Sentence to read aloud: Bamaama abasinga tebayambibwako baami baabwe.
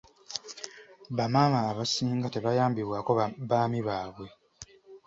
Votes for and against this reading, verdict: 1, 2, rejected